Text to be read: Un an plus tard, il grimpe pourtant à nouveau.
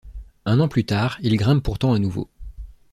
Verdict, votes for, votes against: accepted, 2, 0